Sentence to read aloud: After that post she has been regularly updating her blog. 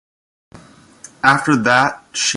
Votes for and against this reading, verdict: 0, 2, rejected